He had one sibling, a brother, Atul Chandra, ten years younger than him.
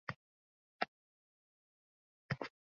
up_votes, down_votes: 0, 2